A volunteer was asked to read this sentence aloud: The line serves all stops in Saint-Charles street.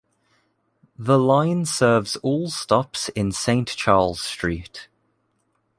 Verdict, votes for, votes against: accepted, 2, 1